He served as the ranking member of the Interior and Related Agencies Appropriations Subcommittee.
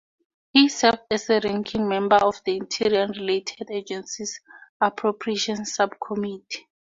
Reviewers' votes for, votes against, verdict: 2, 0, accepted